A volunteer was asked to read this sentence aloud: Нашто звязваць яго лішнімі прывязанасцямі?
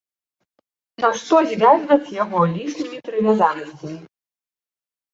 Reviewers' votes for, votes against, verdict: 1, 2, rejected